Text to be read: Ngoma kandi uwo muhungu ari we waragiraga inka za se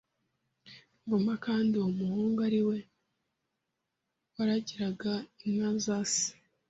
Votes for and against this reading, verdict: 2, 0, accepted